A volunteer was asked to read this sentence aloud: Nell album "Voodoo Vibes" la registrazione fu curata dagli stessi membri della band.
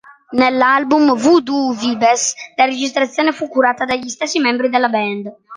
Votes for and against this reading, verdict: 1, 2, rejected